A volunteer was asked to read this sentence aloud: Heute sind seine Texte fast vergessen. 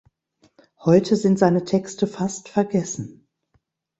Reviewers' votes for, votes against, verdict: 2, 0, accepted